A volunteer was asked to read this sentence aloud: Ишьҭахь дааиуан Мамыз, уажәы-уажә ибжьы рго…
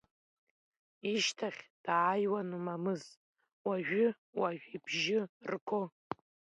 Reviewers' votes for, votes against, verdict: 1, 2, rejected